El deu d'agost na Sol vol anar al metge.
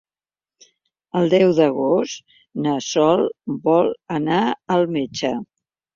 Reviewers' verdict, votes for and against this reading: accepted, 3, 0